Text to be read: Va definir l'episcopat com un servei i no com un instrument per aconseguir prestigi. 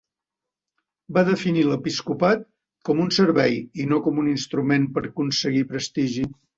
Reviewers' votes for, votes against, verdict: 2, 1, accepted